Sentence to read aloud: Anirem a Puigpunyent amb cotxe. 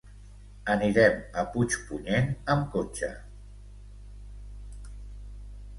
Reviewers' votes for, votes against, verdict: 2, 0, accepted